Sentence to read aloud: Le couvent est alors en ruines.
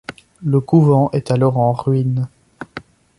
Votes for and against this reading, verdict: 2, 0, accepted